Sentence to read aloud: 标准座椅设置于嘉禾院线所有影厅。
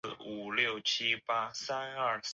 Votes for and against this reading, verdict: 0, 2, rejected